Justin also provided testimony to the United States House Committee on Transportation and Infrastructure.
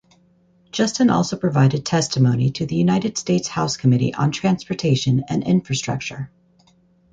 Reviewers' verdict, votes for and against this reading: rejected, 2, 2